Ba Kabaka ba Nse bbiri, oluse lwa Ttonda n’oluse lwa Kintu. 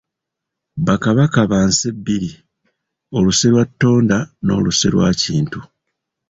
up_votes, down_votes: 0, 2